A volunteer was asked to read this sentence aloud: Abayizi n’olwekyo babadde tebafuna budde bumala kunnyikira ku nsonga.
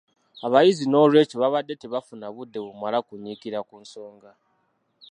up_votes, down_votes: 1, 2